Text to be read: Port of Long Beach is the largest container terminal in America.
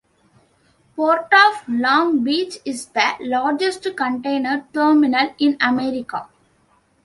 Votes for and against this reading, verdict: 2, 1, accepted